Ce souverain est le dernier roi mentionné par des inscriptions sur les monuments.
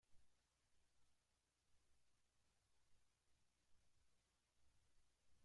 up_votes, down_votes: 0, 2